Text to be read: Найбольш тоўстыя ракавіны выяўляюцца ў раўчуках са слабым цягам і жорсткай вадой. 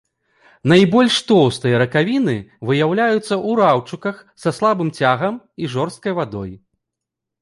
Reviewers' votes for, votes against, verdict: 1, 2, rejected